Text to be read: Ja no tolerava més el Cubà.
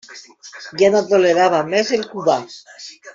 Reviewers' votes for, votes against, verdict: 0, 2, rejected